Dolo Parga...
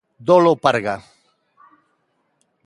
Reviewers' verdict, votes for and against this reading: accepted, 2, 0